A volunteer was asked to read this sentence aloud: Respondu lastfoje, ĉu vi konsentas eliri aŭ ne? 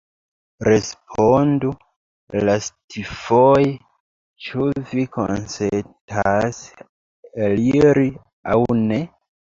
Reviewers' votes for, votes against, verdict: 0, 2, rejected